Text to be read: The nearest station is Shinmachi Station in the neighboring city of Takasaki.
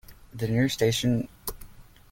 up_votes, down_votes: 0, 2